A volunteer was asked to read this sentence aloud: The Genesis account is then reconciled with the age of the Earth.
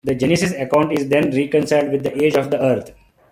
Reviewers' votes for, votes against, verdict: 0, 2, rejected